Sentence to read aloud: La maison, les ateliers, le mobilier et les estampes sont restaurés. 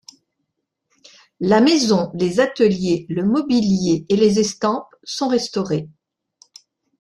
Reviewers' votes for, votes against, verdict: 3, 0, accepted